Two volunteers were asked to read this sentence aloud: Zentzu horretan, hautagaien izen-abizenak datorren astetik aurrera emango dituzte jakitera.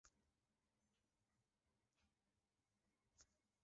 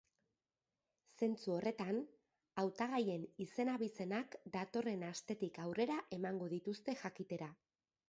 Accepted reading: second